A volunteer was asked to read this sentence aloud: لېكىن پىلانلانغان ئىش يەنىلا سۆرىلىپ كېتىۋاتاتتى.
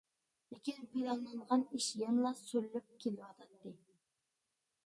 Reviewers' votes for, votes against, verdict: 0, 2, rejected